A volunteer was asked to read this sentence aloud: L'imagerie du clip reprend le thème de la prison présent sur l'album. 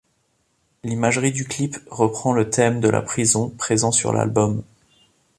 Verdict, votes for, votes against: accepted, 2, 0